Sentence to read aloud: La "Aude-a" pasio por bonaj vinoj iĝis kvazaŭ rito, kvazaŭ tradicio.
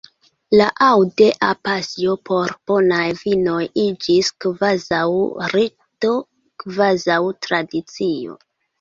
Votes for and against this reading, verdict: 2, 0, accepted